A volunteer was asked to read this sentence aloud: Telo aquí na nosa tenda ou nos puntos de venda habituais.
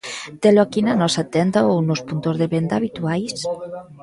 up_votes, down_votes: 1, 2